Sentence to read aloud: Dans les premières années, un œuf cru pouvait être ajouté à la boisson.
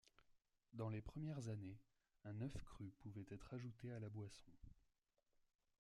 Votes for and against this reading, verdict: 1, 2, rejected